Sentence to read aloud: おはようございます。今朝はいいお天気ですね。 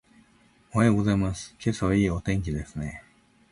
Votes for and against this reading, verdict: 2, 1, accepted